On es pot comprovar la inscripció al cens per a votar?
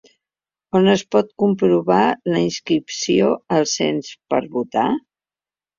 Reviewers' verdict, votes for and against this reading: accepted, 2, 0